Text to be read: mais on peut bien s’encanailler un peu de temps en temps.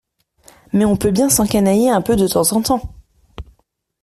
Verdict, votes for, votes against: accepted, 2, 0